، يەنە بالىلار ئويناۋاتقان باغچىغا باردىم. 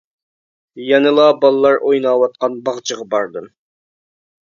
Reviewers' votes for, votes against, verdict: 0, 2, rejected